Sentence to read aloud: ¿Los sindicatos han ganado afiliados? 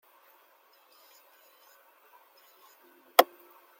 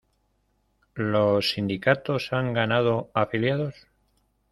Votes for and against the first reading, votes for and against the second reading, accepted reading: 0, 2, 2, 0, second